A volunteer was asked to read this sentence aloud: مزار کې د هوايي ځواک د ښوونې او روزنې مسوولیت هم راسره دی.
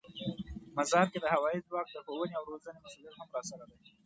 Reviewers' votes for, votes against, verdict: 2, 0, accepted